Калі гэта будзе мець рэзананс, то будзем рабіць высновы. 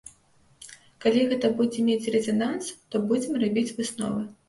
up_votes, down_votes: 2, 0